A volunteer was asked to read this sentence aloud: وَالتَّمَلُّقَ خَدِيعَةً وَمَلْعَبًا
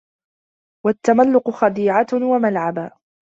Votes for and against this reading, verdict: 2, 0, accepted